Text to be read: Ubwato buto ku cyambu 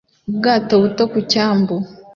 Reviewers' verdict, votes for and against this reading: accepted, 2, 0